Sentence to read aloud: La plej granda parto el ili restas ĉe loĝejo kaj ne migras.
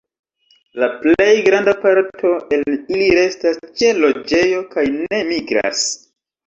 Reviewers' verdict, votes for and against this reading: rejected, 1, 2